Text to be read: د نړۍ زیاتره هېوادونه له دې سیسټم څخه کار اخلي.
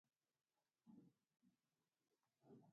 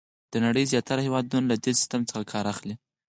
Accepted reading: second